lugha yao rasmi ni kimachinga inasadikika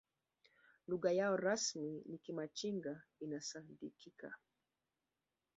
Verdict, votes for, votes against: accepted, 2, 0